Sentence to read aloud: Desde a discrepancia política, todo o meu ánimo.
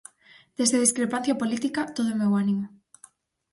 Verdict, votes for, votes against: accepted, 4, 0